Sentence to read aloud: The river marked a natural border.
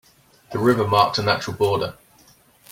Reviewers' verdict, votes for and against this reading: accepted, 2, 0